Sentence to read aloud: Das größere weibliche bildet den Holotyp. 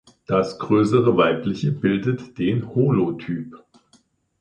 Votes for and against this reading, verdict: 2, 0, accepted